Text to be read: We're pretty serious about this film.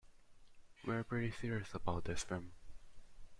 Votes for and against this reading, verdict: 0, 2, rejected